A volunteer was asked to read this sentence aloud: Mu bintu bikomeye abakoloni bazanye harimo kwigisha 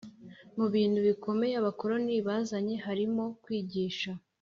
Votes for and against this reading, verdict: 3, 0, accepted